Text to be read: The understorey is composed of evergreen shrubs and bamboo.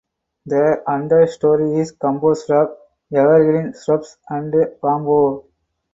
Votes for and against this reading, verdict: 2, 4, rejected